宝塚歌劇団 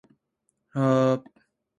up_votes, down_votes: 0, 2